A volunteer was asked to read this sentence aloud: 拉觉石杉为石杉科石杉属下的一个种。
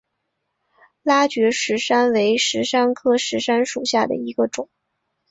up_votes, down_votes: 2, 0